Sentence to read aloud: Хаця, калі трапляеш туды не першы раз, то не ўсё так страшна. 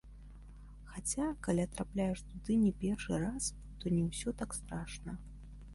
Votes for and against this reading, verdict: 1, 2, rejected